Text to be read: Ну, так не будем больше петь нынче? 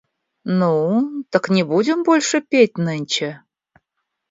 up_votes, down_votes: 2, 0